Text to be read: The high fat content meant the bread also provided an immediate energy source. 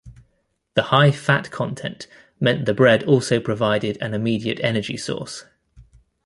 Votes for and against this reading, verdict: 2, 0, accepted